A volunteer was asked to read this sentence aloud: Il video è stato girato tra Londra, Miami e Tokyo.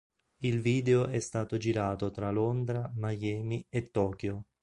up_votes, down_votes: 3, 0